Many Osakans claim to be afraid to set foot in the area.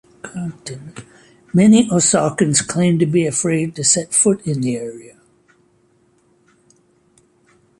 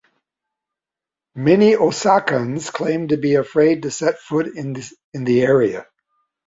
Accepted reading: first